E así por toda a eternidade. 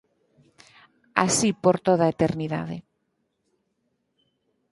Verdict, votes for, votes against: rejected, 0, 6